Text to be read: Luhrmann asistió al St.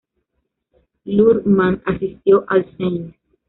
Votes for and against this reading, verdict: 0, 2, rejected